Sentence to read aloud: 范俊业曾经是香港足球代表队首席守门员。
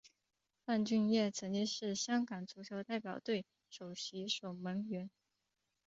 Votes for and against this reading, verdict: 4, 6, rejected